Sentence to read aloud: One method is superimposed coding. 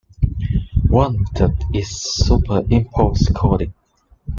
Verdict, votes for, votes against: accepted, 2, 1